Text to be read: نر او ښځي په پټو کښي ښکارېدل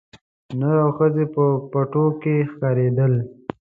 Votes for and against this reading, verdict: 2, 0, accepted